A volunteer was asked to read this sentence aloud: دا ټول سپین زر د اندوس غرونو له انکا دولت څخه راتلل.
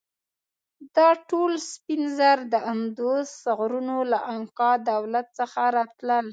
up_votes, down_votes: 2, 1